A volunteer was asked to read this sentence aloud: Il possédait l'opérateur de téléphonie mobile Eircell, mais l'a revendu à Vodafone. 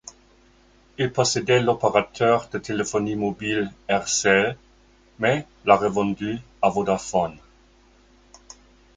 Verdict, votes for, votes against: accepted, 2, 0